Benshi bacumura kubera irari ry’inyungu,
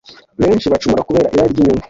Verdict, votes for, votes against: accepted, 2, 1